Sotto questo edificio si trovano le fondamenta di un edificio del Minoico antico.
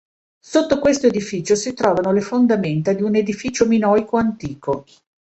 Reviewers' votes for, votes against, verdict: 0, 2, rejected